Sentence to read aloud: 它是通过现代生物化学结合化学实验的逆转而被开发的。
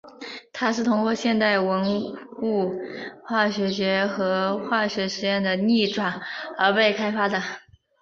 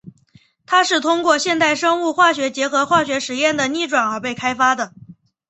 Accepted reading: second